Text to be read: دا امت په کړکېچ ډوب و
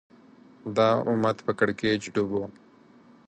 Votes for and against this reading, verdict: 4, 0, accepted